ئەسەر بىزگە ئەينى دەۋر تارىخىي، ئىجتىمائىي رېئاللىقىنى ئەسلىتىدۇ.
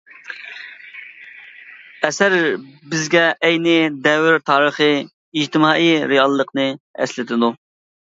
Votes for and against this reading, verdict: 0, 2, rejected